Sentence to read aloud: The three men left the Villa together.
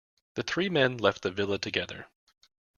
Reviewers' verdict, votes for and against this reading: accepted, 2, 0